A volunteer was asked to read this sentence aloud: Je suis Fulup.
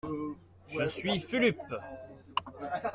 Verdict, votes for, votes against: accepted, 2, 0